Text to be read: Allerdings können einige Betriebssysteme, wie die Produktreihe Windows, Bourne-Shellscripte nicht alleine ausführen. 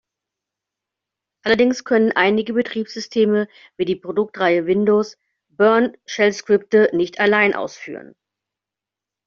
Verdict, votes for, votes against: accepted, 2, 0